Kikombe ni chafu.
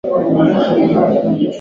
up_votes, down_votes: 0, 2